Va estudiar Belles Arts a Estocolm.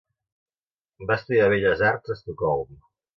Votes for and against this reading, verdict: 2, 0, accepted